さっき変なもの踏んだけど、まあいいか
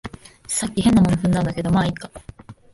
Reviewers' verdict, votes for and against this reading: rejected, 1, 2